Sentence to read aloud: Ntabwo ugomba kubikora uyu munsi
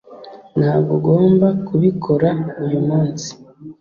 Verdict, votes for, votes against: accepted, 2, 0